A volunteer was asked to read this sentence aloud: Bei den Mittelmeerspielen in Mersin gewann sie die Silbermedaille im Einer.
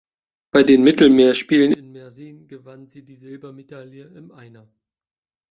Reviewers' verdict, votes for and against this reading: rejected, 1, 2